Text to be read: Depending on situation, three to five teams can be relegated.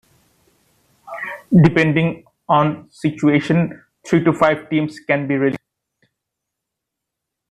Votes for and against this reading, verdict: 1, 2, rejected